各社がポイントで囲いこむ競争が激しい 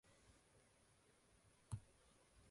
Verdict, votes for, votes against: rejected, 1, 2